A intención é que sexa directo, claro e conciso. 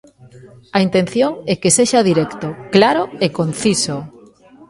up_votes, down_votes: 1, 2